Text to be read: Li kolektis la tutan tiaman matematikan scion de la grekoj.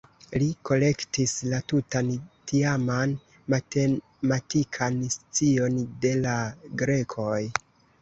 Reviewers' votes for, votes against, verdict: 2, 3, rejected